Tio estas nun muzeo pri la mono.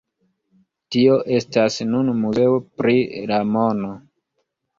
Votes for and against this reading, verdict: 2, 0, accepted